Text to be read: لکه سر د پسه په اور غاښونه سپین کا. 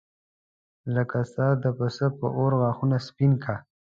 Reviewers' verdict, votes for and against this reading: accepted, 2, 0